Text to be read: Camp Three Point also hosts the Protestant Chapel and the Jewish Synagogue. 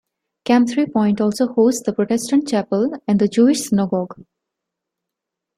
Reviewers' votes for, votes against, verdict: 2, 0, accepted